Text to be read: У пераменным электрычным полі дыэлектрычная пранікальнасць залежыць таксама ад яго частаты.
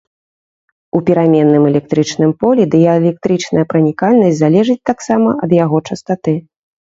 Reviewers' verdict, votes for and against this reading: rejected, 0, 2